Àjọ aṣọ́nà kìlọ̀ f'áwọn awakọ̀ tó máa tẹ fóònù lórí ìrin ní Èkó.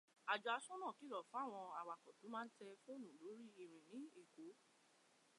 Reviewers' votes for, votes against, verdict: 2, 0, accepted